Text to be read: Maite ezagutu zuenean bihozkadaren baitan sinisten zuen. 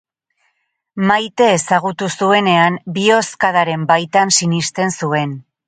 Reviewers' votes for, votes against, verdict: 4, 0, accepted